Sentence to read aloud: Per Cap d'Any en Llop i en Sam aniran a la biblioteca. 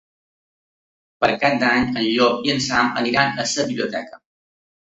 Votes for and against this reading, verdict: 0, 2, rejected